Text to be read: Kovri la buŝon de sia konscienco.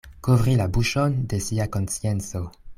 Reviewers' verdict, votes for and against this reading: accepted, 2, 0